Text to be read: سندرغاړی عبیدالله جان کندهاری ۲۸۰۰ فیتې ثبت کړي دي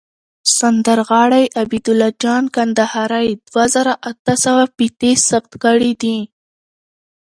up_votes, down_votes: 0, 2